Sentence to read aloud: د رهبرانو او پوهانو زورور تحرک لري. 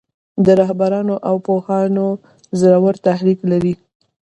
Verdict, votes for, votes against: rejected, 0, 2